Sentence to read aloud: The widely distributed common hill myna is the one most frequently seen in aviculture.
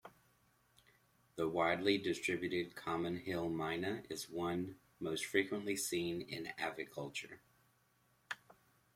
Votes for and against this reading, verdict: 2, 0, accepted